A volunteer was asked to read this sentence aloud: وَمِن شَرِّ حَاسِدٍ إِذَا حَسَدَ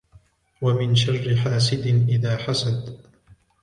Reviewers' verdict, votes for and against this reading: accepted, 2, 1